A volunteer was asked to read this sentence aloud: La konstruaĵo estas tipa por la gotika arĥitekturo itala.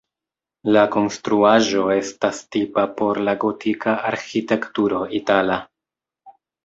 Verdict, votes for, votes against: accepted, 2, 0